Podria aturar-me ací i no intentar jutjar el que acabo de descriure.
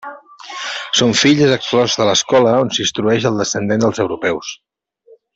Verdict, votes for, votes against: rejected, 0, 2